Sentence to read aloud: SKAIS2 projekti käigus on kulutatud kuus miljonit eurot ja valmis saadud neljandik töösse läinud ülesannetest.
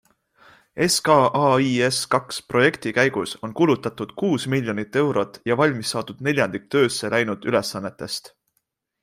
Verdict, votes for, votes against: rejected, 0, 2